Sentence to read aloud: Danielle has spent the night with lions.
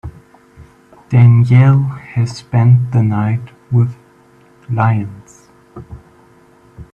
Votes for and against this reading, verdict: 0, 2, rejected